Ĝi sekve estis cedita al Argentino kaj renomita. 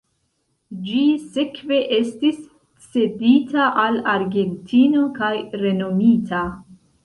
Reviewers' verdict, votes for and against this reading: accepted, 2, 0